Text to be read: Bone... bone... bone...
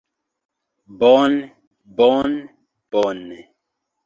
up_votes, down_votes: 2, 1